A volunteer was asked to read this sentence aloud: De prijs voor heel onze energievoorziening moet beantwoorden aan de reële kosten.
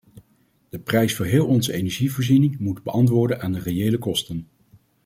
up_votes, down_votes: 2, 0